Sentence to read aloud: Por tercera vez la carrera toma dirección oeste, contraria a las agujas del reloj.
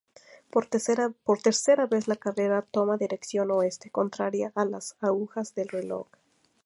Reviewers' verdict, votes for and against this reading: rejected, 0, 2